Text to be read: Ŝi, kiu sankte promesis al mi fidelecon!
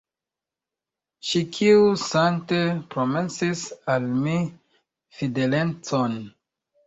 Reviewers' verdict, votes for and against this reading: rejected, 0, 2